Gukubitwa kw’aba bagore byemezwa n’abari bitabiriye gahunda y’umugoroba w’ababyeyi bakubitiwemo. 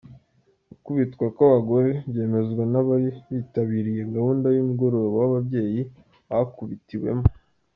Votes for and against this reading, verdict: 2, 0, accepted